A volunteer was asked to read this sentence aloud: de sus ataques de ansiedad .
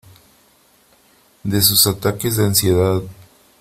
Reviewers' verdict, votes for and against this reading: accepted, 3, 0